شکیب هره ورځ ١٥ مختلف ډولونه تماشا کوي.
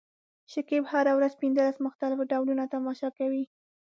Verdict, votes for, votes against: rejected, 0, 2